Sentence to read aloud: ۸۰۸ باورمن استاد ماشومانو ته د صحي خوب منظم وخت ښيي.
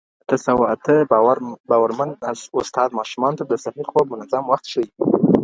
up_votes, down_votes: 0, 2